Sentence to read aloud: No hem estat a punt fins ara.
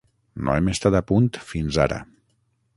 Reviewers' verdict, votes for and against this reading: rejected, 3, 6